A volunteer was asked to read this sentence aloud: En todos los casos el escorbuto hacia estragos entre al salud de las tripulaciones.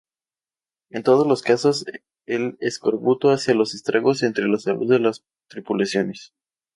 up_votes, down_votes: 2, 2